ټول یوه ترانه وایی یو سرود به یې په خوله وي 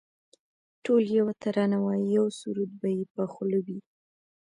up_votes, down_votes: 0, 2